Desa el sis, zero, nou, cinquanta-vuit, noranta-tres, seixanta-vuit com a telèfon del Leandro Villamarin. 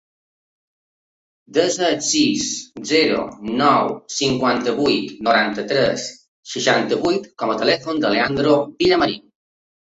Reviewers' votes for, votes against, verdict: 2, 1, accepted